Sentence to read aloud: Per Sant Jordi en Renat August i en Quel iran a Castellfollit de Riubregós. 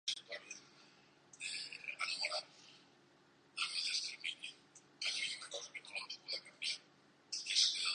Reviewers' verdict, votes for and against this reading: rejected, 0, 2